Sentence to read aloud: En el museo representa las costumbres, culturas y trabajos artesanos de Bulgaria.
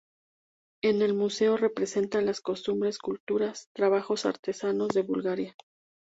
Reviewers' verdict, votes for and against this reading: accepted, 4, 0